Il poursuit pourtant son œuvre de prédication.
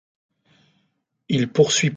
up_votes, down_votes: 0, 2